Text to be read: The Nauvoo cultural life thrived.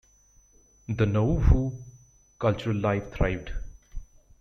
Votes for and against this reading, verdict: 1, 2, rejected